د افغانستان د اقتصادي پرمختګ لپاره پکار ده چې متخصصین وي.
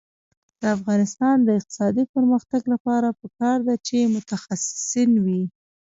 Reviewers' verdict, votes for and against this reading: rejected, 0, 2